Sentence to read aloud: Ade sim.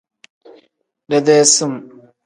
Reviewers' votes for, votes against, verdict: 1, 2, rejected